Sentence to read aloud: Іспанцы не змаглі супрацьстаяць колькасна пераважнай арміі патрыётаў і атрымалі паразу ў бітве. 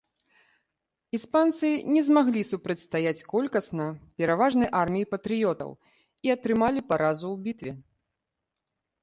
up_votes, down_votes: 2, 0